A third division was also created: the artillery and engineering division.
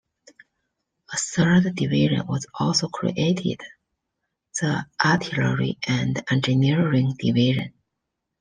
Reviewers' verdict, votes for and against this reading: accepted, 2, 0